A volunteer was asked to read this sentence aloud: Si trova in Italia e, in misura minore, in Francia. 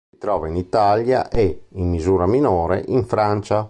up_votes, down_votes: 0, 2